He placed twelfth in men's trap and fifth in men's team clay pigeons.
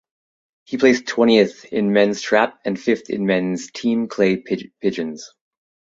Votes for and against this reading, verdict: 1, 2, rejected